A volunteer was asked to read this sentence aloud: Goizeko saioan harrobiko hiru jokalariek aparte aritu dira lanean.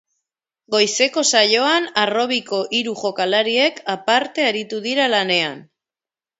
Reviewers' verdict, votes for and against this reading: accepted, 2, 0